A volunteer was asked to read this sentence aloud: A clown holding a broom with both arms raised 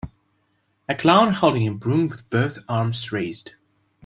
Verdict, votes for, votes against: accepted, 2, 0